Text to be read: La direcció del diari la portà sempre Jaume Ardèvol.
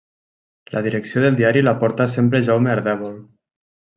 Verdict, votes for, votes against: rejected, 0, 2